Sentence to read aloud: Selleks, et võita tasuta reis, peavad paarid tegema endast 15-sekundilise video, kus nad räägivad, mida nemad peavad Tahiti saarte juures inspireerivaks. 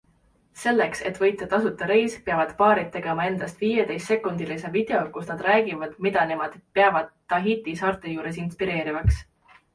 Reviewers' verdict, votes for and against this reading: rejected, 0, 2